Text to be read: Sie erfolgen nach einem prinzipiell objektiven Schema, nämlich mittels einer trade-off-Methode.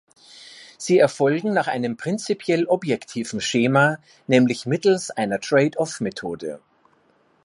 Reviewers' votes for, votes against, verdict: 1, 2, rejected